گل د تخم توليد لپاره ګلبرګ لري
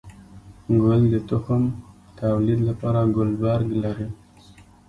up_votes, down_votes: 2, 0